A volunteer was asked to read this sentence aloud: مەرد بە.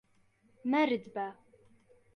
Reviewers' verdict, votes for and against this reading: accepted, 2, 0